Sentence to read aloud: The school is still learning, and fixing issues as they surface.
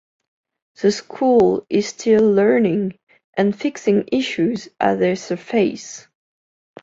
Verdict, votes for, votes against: accepted, 2, 0